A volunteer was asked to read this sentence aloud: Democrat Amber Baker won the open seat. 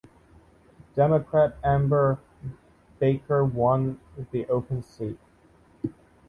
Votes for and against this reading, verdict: 2, 0, accepted